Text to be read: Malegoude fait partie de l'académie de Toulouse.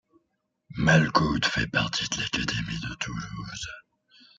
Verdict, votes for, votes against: accepted, 2, 0